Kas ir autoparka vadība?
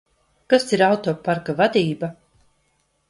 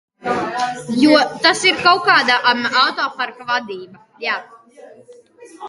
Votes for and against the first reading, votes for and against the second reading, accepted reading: 2, 0, 0, 2, first